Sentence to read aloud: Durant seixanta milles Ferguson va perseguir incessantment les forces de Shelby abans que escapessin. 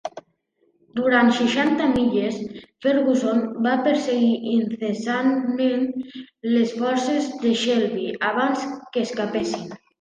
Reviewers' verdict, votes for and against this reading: accepted, 2, 0